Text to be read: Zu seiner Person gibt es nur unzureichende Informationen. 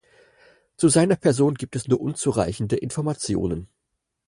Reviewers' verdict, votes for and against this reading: accepted, 4, 0